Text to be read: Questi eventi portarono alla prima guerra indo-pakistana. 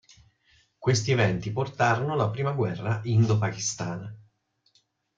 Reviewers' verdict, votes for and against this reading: accepted, 2, 0